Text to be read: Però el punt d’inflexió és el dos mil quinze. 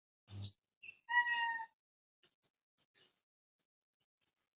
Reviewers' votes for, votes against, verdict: 1, 3, rejected